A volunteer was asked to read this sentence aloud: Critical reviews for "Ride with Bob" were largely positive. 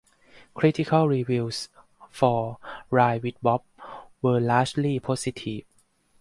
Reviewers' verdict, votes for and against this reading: accepted, 4, 0